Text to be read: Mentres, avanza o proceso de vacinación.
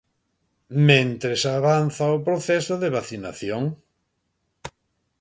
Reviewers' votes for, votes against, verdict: 1, 2, rejected